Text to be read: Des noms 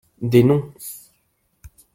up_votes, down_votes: 1, 2